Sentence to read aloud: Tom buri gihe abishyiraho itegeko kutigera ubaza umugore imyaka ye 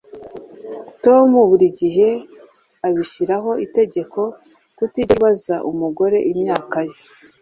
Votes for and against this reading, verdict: 2, 0, accepted